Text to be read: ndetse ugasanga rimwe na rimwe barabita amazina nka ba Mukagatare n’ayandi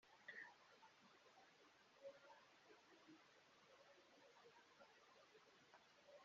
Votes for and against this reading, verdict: 0, 2, rejected